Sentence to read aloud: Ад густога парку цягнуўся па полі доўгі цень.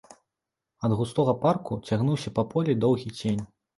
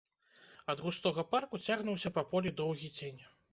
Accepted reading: first